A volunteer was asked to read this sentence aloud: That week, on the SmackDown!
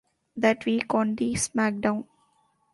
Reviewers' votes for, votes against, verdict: 2, 0, accepted